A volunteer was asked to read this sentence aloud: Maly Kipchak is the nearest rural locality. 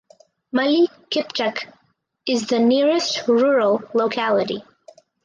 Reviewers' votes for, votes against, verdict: 0, 2, rejected